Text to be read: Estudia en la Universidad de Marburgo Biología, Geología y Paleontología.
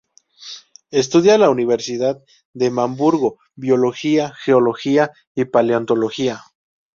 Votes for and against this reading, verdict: 0, 2, rejected